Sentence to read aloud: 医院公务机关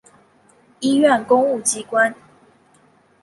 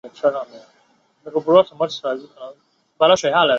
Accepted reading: first